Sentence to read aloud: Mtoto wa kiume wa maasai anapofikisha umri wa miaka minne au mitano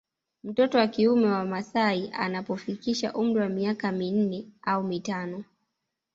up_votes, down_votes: 2, 1